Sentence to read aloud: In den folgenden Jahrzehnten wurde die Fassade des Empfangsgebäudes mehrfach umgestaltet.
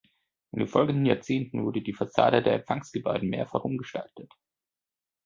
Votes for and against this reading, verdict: 0, 2, rejected